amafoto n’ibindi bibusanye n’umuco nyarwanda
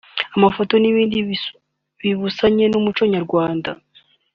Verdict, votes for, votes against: rejected, 1, 2